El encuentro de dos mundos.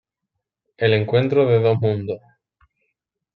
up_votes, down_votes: 2, 0